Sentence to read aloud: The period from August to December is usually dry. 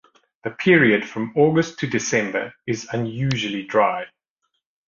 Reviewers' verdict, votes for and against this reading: rejected, 1, 2